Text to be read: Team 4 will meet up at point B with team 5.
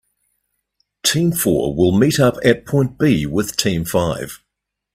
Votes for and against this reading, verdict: 0, 2, rejected